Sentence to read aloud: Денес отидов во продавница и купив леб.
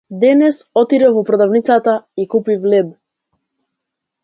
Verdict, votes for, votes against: rejected, 0, 2